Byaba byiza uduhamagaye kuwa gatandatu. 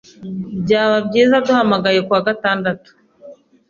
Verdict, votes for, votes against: accepted, 2, 0